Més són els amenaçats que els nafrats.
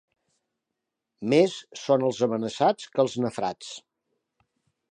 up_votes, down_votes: 2, 1